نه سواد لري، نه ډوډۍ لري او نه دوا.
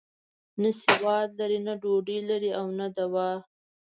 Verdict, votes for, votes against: rejected, 1, 2